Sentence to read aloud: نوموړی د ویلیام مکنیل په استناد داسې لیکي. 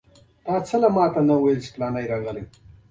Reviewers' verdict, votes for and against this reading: rejected, 1, 2